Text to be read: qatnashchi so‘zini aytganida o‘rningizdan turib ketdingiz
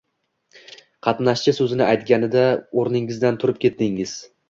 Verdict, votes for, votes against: accepted, 2, 1